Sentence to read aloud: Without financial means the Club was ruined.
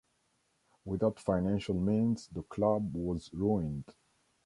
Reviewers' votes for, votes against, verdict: 2, 1, accepted